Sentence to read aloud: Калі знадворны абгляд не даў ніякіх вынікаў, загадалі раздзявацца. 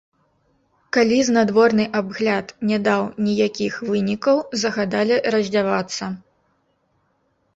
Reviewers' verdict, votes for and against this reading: rejected, 1, 2